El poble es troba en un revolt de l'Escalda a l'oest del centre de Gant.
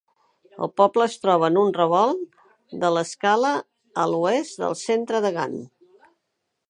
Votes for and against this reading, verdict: 0, 4, rejected